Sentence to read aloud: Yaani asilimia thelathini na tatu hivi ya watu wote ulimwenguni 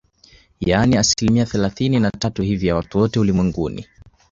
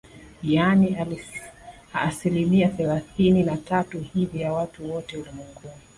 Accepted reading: first